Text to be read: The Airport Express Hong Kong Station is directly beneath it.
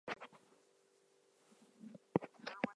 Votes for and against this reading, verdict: 0, 2, rejected